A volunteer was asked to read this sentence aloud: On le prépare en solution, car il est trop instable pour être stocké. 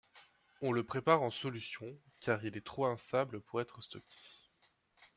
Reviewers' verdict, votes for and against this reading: accepted, 2, 0